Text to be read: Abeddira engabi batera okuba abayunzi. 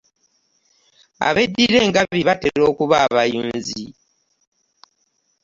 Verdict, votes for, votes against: accepted, 2, 0